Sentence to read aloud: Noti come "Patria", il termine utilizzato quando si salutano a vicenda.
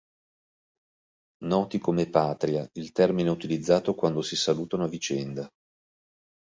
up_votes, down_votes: 2, 0